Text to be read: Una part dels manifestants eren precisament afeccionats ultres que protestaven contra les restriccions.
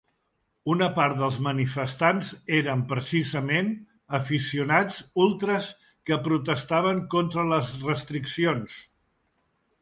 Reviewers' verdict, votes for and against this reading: rejected, 0, 2